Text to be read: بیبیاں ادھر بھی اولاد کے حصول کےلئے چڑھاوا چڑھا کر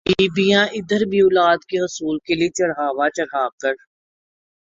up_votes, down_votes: 8, 1